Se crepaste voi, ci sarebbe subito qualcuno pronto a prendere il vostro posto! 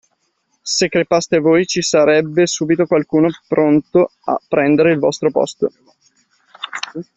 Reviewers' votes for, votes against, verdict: 2, 0, accepted